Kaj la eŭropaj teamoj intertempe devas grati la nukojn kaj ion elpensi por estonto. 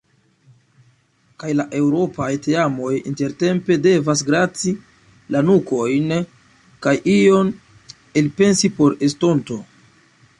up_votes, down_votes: 2, 1